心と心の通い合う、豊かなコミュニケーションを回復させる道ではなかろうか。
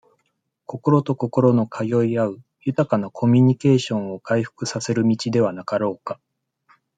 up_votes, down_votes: 2, 0